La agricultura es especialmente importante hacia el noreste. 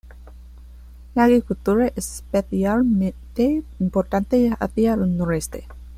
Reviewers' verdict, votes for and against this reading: rejected, 1, 2